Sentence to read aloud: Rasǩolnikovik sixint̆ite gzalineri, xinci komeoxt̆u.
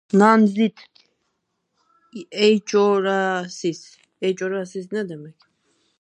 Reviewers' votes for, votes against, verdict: 0, 4, rejected